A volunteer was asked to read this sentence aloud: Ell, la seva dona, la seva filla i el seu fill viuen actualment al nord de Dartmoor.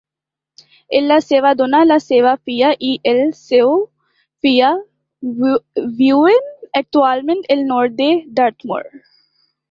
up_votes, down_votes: 1, 2